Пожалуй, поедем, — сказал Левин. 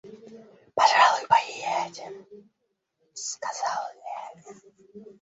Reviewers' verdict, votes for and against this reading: rejected, 1, 2